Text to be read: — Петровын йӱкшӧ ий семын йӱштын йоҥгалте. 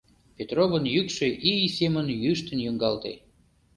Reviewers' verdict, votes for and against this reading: accepted, 2, 0